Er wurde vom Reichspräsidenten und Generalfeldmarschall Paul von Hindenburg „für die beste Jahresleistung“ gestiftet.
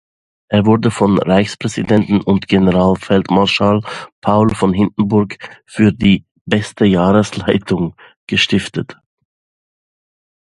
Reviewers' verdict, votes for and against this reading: rejected, 0, 2